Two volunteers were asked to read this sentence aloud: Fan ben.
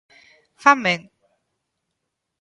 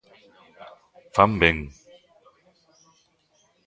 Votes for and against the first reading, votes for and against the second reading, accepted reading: 2, 1, 1, 2, first